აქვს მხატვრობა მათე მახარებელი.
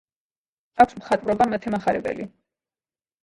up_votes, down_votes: 2, 0